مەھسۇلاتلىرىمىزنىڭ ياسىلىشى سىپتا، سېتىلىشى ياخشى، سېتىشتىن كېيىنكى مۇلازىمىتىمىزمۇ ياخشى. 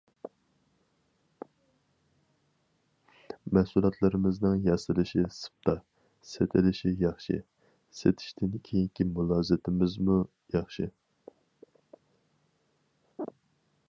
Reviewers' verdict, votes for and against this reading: rejected, 2, 2